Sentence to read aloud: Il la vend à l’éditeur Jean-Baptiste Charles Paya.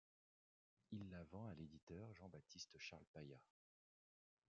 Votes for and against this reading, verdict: 1, 2, rejected